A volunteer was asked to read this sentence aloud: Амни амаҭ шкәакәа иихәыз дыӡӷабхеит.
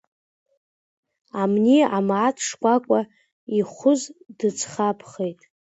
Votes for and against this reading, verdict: 1, 2, rejected